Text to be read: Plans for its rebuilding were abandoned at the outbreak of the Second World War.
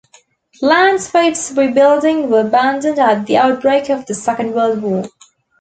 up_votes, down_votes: 2, 0